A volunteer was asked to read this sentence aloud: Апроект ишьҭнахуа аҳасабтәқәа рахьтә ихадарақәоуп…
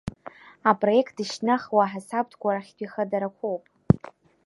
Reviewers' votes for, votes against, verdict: 1, 2, rejected